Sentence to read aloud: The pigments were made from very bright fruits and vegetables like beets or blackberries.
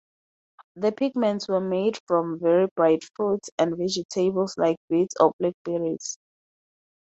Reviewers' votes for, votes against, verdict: 2, 0, accepted